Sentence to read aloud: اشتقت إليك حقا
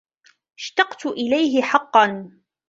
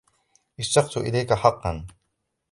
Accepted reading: second